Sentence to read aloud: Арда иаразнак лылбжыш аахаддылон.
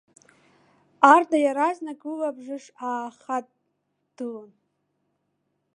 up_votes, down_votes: 0, 2